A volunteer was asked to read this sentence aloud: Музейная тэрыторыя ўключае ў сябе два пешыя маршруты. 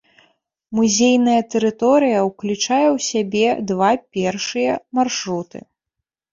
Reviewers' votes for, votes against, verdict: 1, 2, rejected